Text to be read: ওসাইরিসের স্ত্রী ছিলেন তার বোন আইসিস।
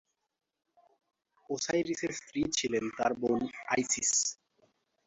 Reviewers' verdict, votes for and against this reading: rejected, 1, 2